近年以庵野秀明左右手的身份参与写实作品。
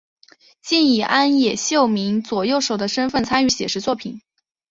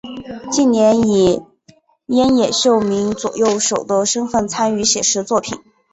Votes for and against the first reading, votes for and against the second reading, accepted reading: 2, 3, 4, 1, second